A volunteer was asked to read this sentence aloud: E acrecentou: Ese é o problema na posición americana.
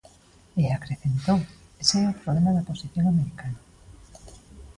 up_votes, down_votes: 0, 2